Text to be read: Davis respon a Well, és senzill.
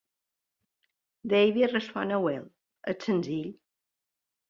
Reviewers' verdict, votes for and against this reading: accepted, 2, 0